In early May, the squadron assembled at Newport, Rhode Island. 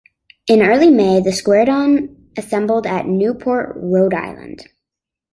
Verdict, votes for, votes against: rejected, 0, 2